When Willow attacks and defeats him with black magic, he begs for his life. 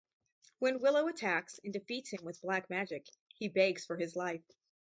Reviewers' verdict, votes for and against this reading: accepted, 2, 0